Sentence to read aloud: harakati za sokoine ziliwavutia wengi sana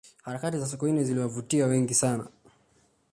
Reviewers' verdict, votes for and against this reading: accepted, 2, 0